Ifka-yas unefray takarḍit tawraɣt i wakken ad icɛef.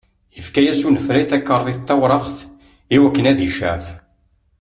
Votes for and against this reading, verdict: 2, 0, accepted